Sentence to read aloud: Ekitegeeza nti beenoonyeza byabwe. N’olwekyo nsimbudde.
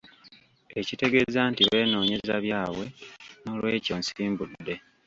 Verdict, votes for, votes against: rejected, 1, 2